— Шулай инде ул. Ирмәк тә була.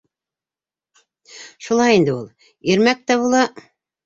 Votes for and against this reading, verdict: 3, 0, accepted